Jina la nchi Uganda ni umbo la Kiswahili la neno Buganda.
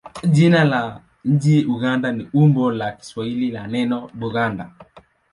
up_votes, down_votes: 2, 0